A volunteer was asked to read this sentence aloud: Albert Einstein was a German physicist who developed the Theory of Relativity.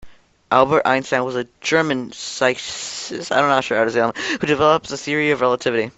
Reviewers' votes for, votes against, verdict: 0, 2, rejected